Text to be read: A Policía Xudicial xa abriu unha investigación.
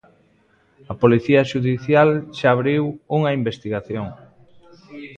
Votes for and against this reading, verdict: 2, 0, accepted